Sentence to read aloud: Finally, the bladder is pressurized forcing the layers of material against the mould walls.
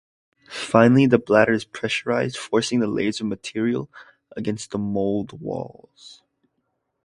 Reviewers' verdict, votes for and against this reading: accepted, 2, 0